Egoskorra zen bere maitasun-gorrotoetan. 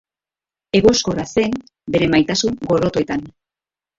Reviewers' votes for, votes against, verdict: 4, 0, accepted